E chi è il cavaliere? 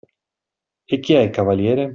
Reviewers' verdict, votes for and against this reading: accepted, 2, 0